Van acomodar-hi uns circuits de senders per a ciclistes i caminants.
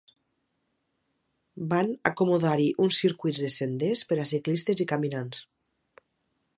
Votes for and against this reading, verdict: 2, 0, accepted